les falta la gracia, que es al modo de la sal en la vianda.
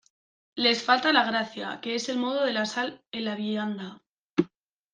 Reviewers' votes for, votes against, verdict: 1, 2, rejected